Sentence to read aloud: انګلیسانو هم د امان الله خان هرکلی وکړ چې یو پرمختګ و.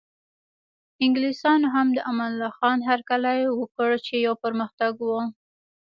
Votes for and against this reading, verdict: 2, 0, accepted